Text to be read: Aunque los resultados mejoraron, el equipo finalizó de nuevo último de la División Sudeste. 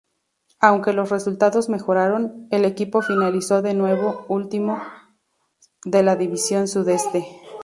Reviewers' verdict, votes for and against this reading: accepted, 2, 0